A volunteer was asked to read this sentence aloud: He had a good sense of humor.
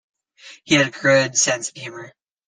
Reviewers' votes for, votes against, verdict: 2, 1, accepted